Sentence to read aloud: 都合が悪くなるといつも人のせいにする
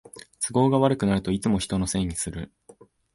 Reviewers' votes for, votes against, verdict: 2, 0, accepted